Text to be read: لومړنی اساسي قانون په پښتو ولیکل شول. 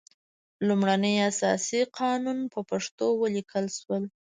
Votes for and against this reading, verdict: 1, 2, rejected